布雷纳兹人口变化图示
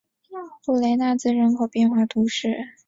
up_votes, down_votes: 0, 2